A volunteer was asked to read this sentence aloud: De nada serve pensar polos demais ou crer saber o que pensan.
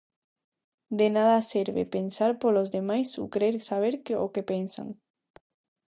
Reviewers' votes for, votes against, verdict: 0, 2, rejected